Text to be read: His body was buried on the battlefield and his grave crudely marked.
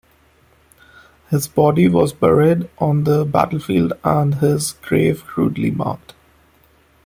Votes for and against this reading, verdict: 0, 2, rejected